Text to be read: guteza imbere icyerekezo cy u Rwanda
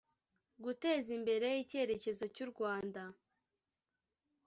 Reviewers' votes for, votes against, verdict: 3, 0, accepted